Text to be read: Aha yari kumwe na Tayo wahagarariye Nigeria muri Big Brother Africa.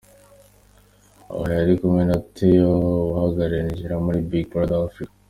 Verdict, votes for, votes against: rejected, 1, 2